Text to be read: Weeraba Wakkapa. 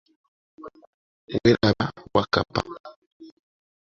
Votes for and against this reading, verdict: 2, 0, accepted